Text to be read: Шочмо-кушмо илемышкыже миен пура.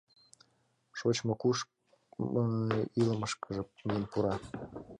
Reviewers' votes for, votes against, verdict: 0, 2, rejected